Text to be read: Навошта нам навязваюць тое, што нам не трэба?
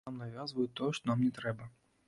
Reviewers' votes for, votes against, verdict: 0, 2, rejected